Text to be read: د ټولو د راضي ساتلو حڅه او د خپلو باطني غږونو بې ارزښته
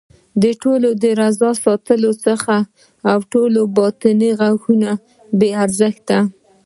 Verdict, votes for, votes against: rejected, 1, 2